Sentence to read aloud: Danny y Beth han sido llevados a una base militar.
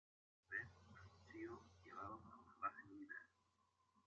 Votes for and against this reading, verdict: 0, 3, rejected